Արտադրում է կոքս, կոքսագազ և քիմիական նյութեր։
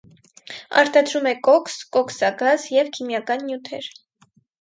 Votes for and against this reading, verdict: 4, 0, accepted